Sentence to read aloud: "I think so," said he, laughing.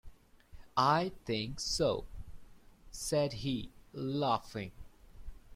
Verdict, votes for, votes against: accepted, 2, 0